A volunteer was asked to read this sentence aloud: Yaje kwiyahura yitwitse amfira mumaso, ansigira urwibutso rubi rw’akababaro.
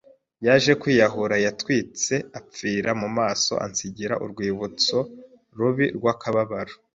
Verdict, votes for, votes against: rejected, 1, 2